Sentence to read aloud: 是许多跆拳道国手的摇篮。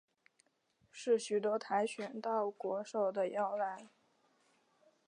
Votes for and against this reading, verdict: 3, 0, accepted